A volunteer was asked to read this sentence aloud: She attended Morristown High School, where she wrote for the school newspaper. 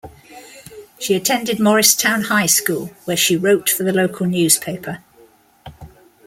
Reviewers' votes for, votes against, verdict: 1, 2, rejected